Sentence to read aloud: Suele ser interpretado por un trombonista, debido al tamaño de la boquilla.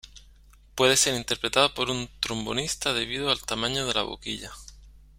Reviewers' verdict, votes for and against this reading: rejected, 0, 2